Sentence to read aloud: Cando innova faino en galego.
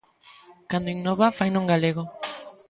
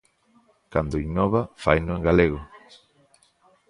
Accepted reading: first